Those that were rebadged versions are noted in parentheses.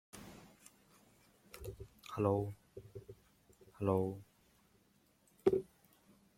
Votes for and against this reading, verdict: 0, 2, rejected